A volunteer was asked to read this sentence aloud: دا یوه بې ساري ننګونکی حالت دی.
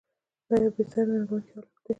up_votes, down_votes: 0, 2